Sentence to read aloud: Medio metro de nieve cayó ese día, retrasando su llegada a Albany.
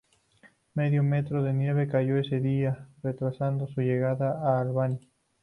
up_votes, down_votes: 2, 0